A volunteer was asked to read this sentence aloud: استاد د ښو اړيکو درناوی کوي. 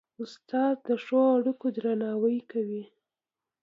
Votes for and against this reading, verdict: 2, 0, accepted